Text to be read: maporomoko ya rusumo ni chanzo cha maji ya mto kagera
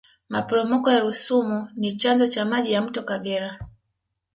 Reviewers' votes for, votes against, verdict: 2, 0, accepted